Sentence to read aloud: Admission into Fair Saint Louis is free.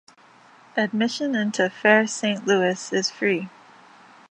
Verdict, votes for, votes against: accepted, 2, 0